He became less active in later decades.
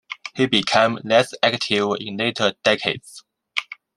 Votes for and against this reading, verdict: 2, 0, accepted